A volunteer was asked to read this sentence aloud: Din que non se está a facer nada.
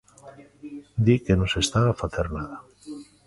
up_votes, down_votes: 1, 2